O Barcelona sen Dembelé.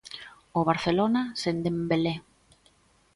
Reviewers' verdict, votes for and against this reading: accepted, 2, 0